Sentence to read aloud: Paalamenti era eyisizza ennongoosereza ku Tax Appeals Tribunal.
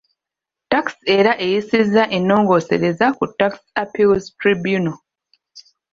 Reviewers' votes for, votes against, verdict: 1, 2, rejected